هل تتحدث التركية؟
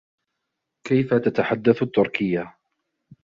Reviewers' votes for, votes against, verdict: 1, 2, rejected